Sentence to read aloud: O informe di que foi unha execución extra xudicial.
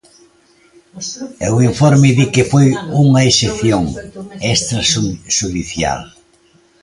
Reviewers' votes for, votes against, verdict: 0, 2, rejected